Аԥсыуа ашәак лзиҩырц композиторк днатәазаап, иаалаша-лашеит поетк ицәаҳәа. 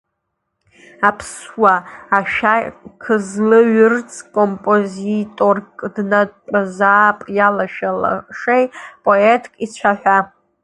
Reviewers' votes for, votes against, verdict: 0, 2, rejected